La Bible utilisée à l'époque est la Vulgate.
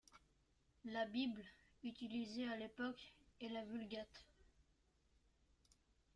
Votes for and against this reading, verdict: 0, 2, rejected